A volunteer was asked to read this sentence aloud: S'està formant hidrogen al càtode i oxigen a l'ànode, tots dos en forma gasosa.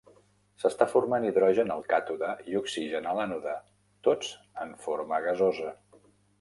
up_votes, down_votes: 0, 2